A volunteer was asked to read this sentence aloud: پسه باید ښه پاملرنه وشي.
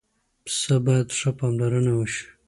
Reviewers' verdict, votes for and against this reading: accepted, 2, 0